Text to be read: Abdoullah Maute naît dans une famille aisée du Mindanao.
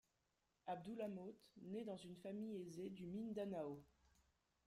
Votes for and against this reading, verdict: 2, 1, accepted